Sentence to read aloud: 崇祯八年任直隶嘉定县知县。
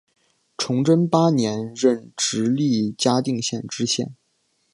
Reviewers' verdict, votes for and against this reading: accepted, 2, 0